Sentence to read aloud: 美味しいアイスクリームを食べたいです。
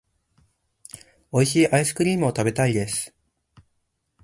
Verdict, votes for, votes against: accepted, 2, 0